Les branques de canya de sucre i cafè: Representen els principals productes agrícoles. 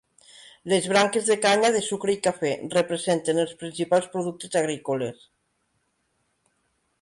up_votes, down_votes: 3, 0